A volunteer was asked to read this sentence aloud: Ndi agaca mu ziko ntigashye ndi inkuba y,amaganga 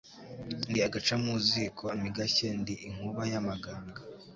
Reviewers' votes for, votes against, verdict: 2, 0, accepted